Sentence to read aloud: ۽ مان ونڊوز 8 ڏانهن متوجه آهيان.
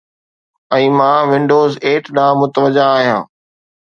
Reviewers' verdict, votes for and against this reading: rejected, 0, 2